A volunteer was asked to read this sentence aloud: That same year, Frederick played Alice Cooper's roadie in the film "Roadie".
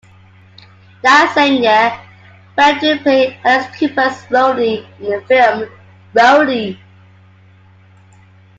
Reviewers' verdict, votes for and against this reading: rejected, 0, 2